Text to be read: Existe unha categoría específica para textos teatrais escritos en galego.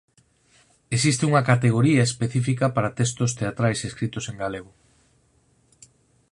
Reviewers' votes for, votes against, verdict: 4, 0, accepted